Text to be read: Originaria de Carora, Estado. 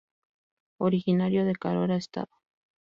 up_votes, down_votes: 0, 2